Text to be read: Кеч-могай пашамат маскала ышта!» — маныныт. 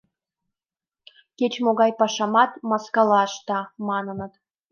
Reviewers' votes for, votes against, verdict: 2, 0, accepted